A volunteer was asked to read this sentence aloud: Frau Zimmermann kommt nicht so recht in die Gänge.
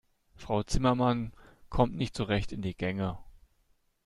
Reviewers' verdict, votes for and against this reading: accepted, 2, 0